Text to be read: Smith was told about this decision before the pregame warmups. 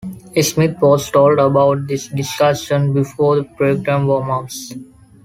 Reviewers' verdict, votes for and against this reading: rejected, 0, 2